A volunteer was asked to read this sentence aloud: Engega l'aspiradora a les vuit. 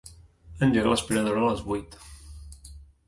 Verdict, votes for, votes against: accepted, 2, 1